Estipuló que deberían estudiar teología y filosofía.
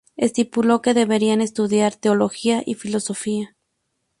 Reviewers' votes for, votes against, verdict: 2, 0, accepted